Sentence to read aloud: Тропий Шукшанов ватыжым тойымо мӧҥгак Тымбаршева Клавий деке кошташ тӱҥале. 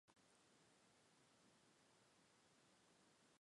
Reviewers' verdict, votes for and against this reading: rejected, 0, 3